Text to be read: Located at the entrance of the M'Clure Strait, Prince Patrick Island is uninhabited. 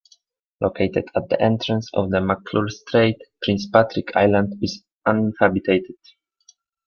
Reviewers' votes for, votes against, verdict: 0, 2, rejected